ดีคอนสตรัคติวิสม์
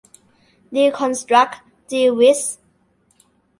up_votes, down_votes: 2, 0